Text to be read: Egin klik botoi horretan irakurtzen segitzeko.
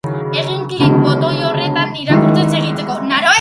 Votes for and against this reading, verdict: 0, 2, rejected